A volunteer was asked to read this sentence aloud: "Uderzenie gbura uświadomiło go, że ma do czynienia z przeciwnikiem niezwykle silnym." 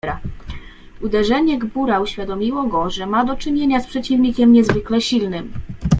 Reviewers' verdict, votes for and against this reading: rejected, 0, 2